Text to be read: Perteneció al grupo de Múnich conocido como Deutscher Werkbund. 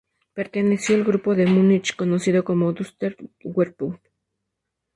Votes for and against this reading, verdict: 0, 2, rejected